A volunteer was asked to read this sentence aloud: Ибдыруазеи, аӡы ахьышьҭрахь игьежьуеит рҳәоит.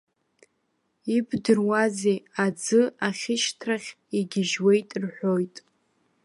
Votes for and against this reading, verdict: 1, 2, rejected